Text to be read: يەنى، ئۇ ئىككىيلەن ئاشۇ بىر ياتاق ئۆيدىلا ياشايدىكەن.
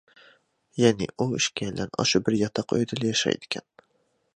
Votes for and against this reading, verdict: 2, 1, accepted